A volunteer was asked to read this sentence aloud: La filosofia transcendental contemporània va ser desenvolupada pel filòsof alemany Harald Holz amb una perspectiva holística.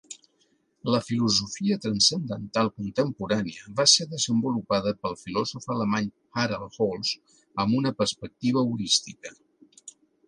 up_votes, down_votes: 2, 0